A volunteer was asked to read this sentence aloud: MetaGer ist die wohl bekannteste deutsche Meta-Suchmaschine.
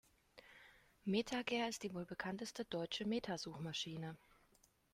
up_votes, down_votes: 2, 0